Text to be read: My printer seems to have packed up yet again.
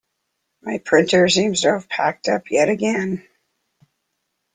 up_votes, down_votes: 2, 0